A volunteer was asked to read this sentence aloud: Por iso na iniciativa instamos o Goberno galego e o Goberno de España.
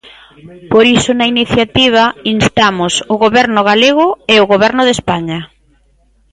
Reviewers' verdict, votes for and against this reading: rejected, 0, 2